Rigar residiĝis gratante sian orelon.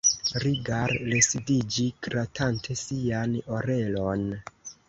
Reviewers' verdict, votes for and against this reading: rejected, 0, 2